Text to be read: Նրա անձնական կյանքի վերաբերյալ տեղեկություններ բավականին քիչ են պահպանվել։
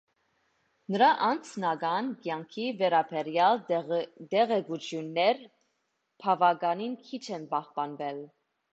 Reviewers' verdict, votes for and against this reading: rejected, 1, 2